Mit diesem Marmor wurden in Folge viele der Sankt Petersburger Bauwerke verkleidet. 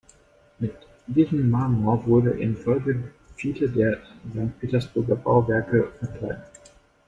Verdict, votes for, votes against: rejected, 0, 2